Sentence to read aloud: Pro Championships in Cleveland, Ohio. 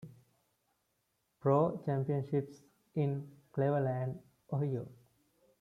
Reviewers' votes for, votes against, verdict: 0, 2, rejected